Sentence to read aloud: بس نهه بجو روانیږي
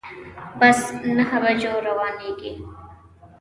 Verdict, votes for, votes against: rejected, 0, 2